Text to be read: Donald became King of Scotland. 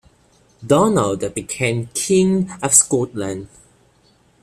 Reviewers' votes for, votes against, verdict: 2, 1, accepted